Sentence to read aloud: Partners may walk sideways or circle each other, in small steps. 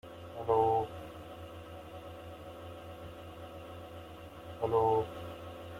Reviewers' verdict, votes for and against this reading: rejected, 0, 3